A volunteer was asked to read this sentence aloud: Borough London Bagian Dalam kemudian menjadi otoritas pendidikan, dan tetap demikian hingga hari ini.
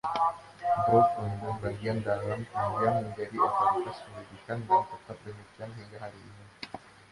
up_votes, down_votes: 1, 2